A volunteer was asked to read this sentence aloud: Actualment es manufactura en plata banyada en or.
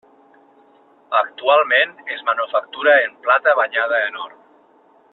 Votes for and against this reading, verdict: 3, 0, accepted